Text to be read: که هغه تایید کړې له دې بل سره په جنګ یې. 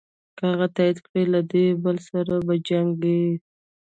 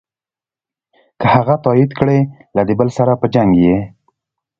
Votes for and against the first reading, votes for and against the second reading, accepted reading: 0, 2, 2, 0, second